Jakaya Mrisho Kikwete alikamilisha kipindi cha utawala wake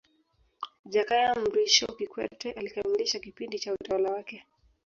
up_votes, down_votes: 1, 2